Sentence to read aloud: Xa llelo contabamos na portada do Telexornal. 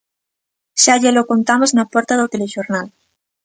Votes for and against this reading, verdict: 0, 2, rejected